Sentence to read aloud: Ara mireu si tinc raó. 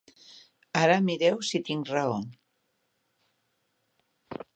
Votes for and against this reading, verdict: 3, 0, accepted